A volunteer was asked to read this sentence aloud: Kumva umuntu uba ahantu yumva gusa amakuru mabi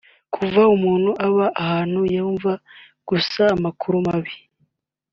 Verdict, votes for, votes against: accepted, 2, 0